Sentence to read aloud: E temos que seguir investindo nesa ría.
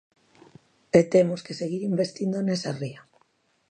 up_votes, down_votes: 2, 0